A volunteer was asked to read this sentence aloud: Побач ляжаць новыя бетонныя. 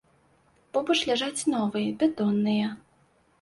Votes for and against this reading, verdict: 2, 0, accepted